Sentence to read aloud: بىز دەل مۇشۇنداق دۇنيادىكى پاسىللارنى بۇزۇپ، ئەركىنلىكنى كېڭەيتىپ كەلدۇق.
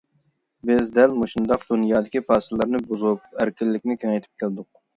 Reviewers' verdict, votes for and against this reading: accepted, 2, 0